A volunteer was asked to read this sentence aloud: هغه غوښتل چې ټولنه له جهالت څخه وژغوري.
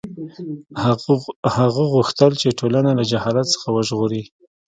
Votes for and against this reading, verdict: 2, 0, accepted